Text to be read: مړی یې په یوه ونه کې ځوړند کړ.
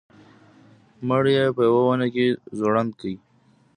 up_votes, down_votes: 1, 2